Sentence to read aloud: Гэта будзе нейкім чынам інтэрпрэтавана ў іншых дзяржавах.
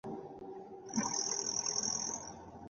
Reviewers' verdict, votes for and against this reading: rejected, 0, 2